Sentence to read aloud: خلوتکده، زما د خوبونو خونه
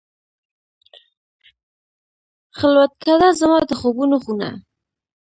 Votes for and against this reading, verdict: 2, 0, accepted